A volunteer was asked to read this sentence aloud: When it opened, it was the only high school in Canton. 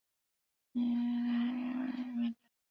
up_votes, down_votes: 0, 2